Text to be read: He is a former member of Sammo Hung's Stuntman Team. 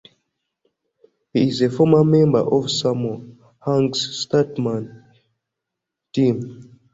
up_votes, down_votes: 2, 1